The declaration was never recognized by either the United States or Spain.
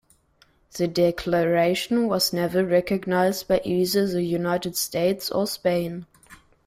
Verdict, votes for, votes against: accepted, 2, 0